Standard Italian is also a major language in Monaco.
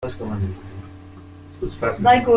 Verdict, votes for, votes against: rejected, 0, 2